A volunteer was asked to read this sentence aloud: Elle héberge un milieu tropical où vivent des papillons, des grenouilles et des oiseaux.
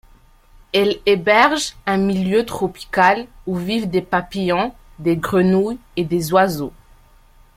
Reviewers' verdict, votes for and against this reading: rejected, 0, 2